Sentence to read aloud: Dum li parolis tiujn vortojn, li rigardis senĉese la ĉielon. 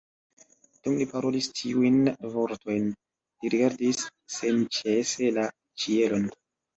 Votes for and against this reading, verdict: 2, 0, accepted